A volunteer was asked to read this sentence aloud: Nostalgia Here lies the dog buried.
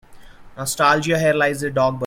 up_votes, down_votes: 0, 2